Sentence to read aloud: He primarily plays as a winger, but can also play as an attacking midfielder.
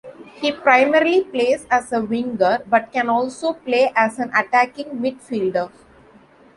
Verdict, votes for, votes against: accepted, 2, 0